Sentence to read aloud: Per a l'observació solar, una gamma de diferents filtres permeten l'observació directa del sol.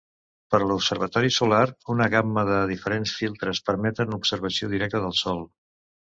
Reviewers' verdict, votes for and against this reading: rejected, 0, 2